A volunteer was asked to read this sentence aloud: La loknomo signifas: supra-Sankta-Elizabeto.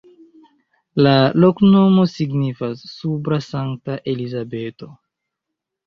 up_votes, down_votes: 0, 2